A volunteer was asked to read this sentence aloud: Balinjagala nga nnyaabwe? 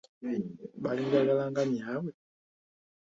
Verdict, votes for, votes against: accepted, 2, 0